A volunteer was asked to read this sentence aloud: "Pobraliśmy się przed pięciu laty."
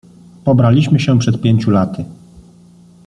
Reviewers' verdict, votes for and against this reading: accepted, 2, 0